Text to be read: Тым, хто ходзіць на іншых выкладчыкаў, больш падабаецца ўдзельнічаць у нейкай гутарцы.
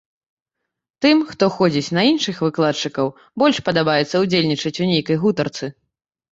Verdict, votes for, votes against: accepted, 2, 0